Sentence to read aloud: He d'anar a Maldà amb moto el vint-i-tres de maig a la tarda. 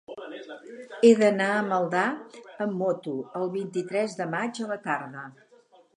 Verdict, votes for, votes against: accepted, 8, 0